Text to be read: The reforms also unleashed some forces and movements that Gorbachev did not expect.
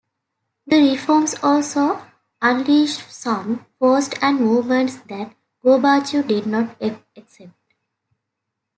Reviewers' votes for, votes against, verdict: 0, 2, rejected